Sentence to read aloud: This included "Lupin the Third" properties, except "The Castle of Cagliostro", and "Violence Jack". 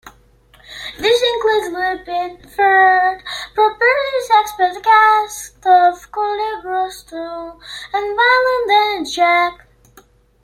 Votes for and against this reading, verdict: 0, 2, rejected